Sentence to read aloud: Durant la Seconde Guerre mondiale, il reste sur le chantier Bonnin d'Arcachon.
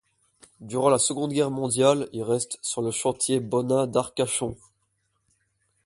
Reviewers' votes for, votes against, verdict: 4, 0, accepted